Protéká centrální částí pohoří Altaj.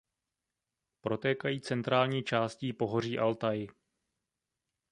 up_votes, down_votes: 1, 2